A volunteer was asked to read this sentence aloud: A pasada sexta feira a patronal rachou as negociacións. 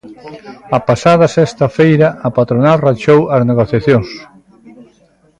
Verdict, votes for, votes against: rejected, 1, 2